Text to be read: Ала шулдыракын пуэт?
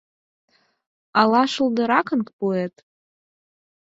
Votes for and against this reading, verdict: 4, 0, accepted